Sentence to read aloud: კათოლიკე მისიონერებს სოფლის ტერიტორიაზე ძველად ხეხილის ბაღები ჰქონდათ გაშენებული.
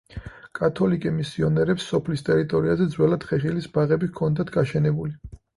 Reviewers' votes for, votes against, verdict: 4, 0, accepted